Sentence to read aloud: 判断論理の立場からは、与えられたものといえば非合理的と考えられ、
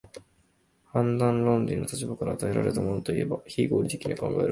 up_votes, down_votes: 2, 0